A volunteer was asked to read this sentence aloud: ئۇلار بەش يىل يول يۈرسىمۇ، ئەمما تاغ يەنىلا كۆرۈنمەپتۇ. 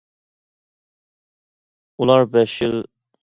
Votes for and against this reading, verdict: 0, 2, rejected